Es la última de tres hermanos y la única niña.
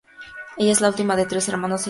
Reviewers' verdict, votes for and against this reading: rejected, 2, 2